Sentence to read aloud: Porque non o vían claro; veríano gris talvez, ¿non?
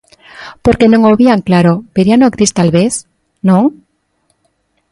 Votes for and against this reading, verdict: 2, 0, accepted